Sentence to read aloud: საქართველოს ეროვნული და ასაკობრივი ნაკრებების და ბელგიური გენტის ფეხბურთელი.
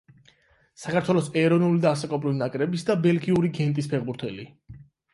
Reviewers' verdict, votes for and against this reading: rejected, 0, 8